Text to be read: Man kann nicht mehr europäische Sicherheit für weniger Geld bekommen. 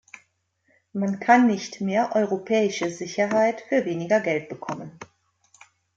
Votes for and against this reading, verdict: 2, 0, accepted